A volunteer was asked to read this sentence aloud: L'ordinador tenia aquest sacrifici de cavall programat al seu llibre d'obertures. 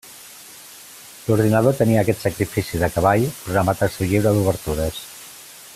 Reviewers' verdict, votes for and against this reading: accepted, 2, 0